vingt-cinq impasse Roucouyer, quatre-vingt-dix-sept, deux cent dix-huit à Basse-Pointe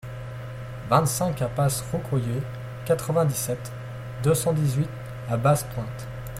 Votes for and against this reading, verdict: 2, 0, accepted